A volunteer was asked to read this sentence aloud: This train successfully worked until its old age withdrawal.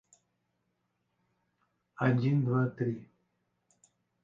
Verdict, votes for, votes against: rejected, 0, 2